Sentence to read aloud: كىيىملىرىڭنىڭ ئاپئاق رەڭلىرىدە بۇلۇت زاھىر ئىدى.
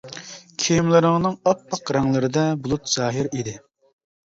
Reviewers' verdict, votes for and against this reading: accepted, 2, 0